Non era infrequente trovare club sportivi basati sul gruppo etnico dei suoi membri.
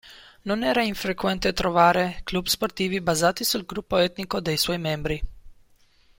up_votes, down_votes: 1, 2